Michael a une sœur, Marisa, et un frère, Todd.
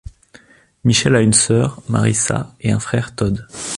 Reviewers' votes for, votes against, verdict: 0, 2, rejected